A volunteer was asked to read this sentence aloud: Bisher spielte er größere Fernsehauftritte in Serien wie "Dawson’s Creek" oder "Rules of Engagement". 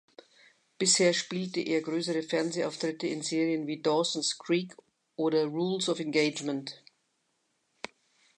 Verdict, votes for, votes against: accepted, 2, 0